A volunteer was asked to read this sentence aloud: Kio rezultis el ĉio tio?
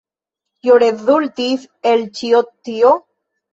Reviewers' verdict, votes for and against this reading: accepted, 2, 0